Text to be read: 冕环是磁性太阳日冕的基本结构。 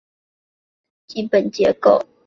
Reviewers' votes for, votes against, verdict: 0, 2, rejected